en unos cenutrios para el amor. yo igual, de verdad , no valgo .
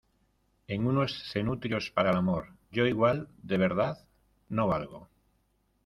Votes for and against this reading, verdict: 2, 0, accepted